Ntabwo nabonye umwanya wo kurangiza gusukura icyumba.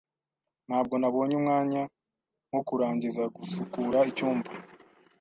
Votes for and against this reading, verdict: 2, 0, accepted